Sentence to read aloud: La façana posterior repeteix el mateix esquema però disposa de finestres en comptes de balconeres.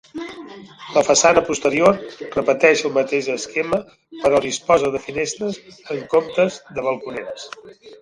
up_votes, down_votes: 0, 2